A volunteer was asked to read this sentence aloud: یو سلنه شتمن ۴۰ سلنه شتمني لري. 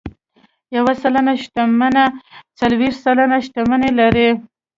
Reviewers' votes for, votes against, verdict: 0, 2, rejected